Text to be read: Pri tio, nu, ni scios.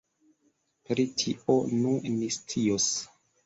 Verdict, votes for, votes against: accepted, 2, 1